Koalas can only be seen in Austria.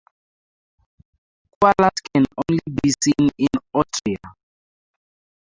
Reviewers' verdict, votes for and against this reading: rejected, 0, 4